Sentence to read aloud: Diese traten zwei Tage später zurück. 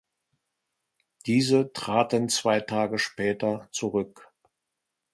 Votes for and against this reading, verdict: 2, 0, accepted